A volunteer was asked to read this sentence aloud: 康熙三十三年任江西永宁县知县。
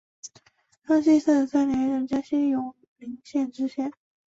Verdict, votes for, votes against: accepted, 2, 1